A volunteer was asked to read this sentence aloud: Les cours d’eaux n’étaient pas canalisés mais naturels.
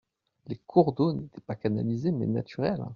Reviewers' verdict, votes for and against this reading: accepted, 2, 1